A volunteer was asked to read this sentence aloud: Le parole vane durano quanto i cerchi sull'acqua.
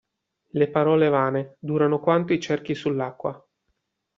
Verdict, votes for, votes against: accepted, 2, 0